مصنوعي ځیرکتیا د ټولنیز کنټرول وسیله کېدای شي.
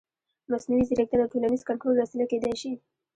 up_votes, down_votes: 0, 2